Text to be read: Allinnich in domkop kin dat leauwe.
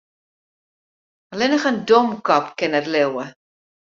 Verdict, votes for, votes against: accepted, 2, 0